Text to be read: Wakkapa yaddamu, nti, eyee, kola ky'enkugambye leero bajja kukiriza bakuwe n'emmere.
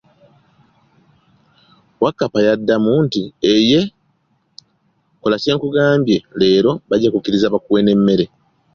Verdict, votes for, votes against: accepted, 2, 0